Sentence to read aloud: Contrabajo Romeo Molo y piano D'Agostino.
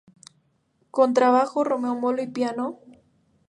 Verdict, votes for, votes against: rejected, 0, 2